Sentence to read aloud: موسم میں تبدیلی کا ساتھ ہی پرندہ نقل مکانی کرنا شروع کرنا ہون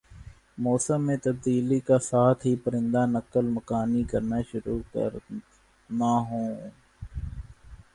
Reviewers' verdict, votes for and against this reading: rejected, 1, 2